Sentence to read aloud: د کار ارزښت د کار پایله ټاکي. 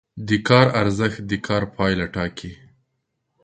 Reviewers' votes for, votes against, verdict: 13, 0, accepted